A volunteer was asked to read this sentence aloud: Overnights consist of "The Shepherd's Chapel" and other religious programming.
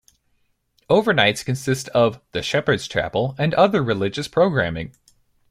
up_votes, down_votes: 2, 0